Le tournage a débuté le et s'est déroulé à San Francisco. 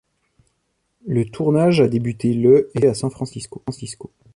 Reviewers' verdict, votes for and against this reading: rejected, 1, 2